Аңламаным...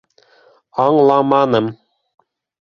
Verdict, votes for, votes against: accepted, 2, 0